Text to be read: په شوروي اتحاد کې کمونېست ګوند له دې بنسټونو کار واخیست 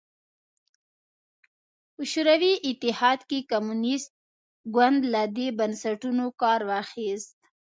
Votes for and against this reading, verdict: 1, 2, rejected